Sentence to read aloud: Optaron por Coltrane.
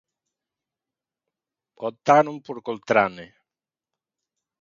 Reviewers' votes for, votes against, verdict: 19, 0, accepted